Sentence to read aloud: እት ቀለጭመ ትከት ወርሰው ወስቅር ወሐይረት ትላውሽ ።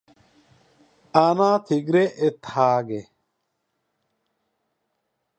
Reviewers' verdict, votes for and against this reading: rejected, 1, 2